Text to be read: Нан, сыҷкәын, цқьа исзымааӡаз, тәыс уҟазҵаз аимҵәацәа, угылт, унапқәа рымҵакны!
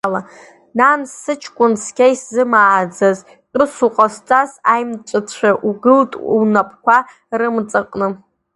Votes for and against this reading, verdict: 1, 2, rejected